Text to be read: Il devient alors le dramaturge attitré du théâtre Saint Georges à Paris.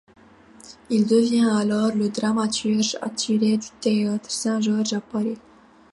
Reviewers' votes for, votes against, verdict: 0, 2, rejected